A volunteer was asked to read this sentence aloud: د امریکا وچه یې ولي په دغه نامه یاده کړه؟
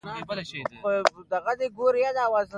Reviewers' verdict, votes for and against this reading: rejected, 1, 2